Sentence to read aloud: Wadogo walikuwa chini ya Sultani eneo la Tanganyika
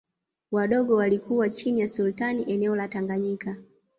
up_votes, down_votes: 0, 2